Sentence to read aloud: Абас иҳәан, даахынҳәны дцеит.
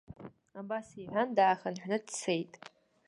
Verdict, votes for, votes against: rejected, 1, 2